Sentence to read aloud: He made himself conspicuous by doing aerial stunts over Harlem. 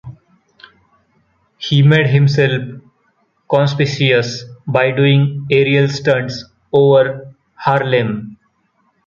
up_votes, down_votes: 1, 2